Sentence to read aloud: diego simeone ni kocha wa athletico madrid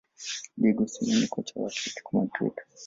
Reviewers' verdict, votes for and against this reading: rejected, 1, 2